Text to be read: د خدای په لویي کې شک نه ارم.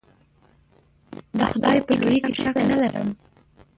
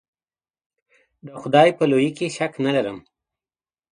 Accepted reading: second